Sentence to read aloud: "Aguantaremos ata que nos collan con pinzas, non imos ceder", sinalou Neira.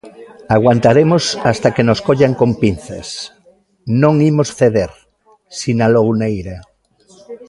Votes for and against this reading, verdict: 0, 2, rejected